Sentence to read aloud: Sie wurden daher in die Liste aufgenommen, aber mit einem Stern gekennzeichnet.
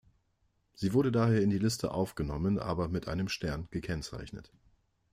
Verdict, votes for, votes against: rejected, 0, 2